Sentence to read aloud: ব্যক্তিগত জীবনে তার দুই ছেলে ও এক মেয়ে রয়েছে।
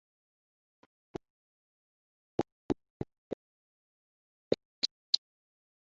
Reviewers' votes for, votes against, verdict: 0, 3, rejected